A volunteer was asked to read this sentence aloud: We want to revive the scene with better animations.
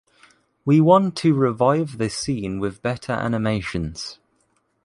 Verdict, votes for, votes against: accepted, 2, 0